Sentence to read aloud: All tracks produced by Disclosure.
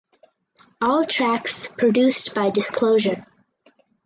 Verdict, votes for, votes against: accepted, 4, 0